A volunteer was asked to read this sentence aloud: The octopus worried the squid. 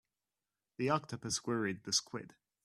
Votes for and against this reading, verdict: 2, 0, accepted